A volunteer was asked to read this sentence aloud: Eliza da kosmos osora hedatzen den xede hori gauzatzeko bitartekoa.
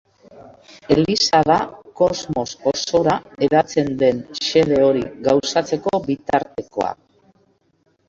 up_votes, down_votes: 0, 2